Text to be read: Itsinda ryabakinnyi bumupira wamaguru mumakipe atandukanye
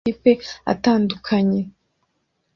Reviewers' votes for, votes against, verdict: 1, 3, rejected